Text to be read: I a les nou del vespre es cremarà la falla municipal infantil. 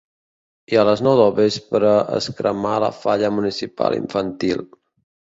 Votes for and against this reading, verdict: 0, 2, rejected